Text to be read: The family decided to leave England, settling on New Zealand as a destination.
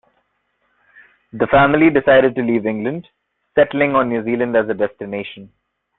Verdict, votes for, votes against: accepted, 2, 0